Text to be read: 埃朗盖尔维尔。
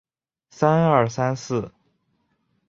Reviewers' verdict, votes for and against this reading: rejected, 0, 3